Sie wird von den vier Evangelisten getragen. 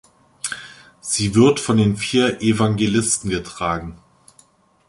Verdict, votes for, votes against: accepted, 2, 0